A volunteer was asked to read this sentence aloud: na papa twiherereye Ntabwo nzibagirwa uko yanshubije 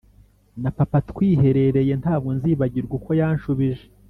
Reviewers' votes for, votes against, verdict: 3, 0, accepted